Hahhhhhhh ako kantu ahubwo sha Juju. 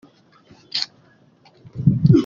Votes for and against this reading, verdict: 0, 2, rejected